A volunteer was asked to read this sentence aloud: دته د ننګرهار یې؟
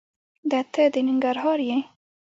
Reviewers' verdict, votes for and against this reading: accepted, 3, 1